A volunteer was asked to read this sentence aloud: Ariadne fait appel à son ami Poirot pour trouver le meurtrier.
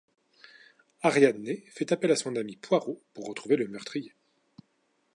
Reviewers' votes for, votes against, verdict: 1, 2, rejected